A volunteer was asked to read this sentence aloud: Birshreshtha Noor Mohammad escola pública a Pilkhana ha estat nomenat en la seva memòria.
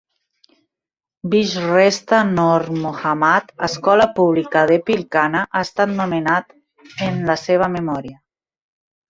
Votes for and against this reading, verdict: 1, 2, rejected